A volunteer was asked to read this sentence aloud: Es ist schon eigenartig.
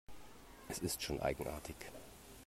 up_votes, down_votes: 2, 0